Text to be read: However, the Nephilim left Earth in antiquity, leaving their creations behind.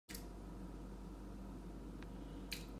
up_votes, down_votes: 0, 2